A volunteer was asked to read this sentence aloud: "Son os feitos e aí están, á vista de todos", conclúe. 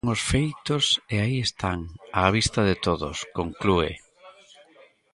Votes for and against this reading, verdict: 0, 2, rejected